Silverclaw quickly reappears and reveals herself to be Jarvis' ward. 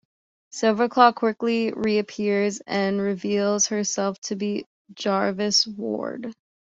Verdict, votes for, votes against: accepted, 2, 0